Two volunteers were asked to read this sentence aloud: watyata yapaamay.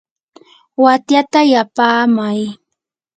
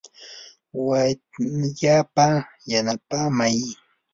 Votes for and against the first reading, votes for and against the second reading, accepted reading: 2, 0, 0, 2, first